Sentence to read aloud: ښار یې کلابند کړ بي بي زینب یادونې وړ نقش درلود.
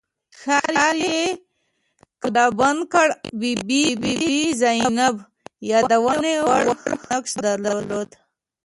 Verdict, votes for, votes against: rejected, 1, 2